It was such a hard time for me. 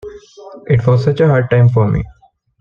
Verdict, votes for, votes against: accepted, 2, 1